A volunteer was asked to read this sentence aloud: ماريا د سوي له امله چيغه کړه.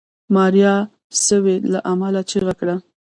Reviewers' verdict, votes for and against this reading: rejected, 0, 2